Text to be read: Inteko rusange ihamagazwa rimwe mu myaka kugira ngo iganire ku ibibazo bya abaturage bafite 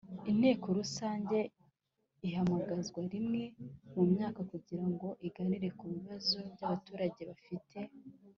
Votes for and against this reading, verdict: 2, 0, accepted